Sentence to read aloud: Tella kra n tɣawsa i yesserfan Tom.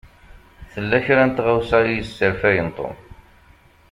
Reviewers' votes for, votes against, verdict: 1, 2, rejected